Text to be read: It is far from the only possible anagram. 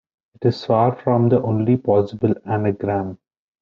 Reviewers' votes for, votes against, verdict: 1, 2, rejected